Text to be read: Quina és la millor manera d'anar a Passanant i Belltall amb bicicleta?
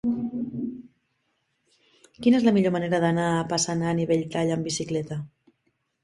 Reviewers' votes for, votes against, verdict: 5, 0, accepted